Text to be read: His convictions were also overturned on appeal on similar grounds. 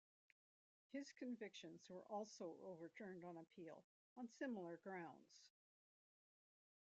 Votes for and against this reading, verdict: 1, 2, rejected